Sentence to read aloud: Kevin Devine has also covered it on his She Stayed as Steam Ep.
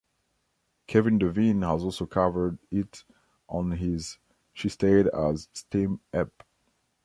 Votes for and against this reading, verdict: 1, 2, rejected